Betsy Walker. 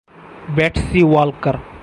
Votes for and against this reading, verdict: 2, 2, rejected